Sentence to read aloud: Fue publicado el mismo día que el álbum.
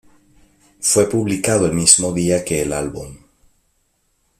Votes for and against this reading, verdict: 2, 0, accepted